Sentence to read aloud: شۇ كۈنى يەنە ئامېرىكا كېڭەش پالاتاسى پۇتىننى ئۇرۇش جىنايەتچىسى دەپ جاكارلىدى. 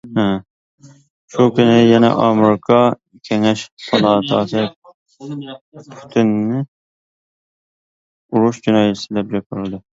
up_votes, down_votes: 0, 2